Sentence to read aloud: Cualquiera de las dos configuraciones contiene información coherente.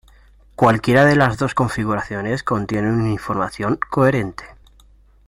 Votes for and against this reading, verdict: 1, 2, rejected